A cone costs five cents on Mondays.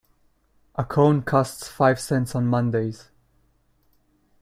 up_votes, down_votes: 2, 0